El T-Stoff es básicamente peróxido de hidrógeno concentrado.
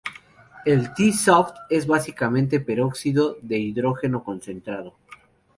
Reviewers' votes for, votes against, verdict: 2, 0, accepted